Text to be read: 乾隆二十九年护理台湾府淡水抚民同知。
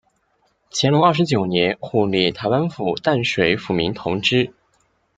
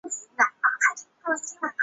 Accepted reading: first